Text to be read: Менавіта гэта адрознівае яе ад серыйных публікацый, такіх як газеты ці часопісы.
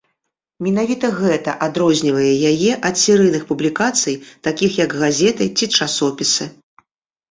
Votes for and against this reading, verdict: 2, 1, accepted